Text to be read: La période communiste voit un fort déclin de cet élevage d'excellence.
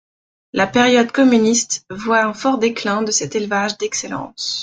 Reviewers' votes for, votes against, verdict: 2, 1, accepted